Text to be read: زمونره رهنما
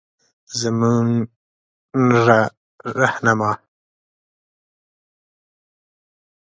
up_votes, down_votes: 1, 2